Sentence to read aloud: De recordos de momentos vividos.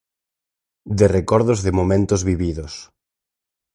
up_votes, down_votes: 4, 0